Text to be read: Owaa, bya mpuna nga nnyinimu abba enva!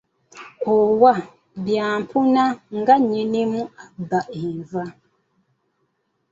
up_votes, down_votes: 2, 0